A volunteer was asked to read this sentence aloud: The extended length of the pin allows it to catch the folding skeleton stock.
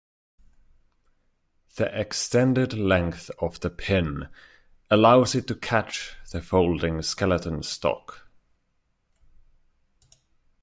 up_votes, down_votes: 2, 0